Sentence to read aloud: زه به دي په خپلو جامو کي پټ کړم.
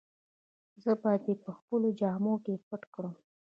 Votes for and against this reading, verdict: 1, 2, rejected